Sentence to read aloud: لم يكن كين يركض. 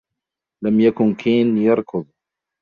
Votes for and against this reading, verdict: 2, 0, accepted